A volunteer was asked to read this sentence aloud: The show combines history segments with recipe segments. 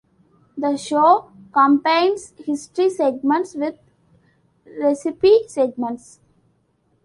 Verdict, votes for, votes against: accepted, 2, 0